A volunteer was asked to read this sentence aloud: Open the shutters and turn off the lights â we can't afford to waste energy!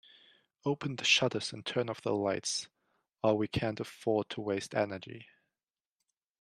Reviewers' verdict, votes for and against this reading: rejected, 1, 2